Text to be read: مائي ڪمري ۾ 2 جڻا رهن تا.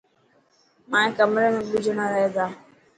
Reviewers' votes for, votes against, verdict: 0, 2, rejected